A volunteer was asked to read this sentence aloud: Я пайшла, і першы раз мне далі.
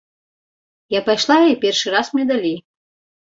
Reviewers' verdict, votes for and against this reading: accepted, 2, 0